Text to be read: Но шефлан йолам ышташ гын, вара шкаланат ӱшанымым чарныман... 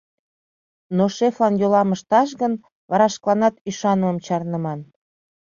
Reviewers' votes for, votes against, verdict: 2, 0, accepted